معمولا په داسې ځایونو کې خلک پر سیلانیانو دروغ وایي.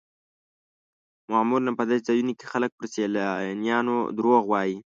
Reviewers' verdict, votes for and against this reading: accepted, 2, 0